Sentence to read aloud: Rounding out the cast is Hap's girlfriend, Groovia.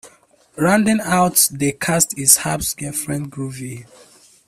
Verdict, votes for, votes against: accepted, 2, 1